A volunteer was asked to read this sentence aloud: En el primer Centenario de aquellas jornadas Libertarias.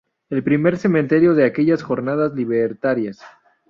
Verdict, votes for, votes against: rejected, 0, 2